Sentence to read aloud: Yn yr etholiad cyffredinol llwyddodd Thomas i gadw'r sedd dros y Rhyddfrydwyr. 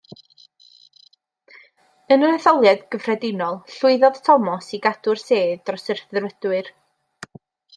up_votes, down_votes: 2, 0